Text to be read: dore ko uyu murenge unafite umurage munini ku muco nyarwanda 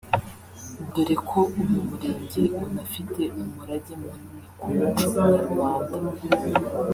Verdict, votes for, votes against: rejected, 1, 2